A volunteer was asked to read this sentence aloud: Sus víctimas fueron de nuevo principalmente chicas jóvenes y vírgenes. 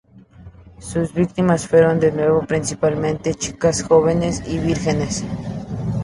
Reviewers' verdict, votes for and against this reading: accepted, 2, 0